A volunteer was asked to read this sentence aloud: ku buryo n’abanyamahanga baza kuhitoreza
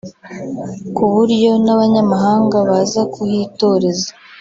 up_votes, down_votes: 2, 0